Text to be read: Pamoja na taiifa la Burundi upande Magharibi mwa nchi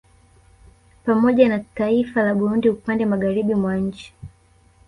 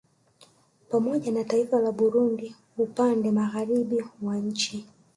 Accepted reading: first